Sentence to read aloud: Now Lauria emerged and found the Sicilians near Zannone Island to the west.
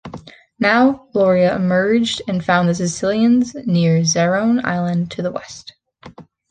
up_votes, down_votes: 3, 1